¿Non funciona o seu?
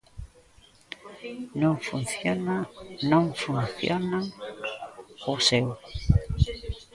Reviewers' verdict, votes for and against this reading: rejected, 0, 2